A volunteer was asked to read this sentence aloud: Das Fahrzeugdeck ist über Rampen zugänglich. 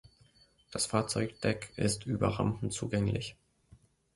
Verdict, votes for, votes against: accepted, 2, 0